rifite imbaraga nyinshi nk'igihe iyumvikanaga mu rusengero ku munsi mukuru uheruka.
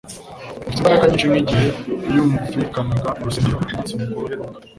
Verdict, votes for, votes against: rejected, 1, 2